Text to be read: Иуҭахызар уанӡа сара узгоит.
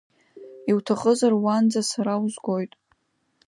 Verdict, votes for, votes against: accepted, 2, 0